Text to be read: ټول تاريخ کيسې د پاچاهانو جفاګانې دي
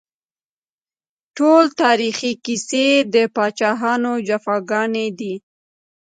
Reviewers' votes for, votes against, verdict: 1, 2, rejected